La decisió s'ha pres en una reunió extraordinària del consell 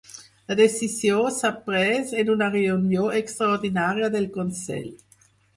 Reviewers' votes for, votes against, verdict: 4, 0, accepted